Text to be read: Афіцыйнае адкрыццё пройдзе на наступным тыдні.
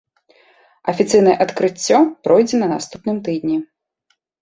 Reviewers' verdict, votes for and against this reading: rejected, 1, 2